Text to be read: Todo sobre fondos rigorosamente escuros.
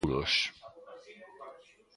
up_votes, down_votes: 0, 2